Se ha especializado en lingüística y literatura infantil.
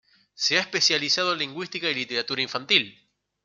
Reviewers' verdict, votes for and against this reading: accepted, 2, 1